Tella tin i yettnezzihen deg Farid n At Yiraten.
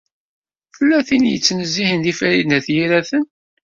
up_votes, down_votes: 1, 2